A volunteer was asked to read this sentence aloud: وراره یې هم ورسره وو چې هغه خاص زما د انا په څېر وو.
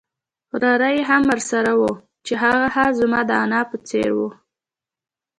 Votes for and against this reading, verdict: 1, 2, rejected